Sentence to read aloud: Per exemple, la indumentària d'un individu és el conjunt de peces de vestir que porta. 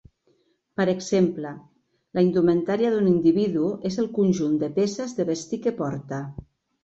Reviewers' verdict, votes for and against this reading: accepted, 2, 0